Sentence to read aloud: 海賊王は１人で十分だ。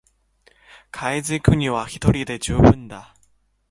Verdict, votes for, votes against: rejected, 0, 2